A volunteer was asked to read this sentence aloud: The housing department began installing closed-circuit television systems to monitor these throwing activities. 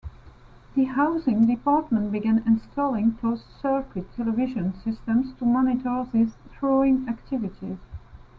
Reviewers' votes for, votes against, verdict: 2, 0, accepted